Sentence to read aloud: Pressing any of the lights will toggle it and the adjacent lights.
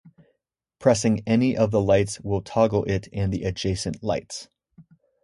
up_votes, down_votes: 2, 2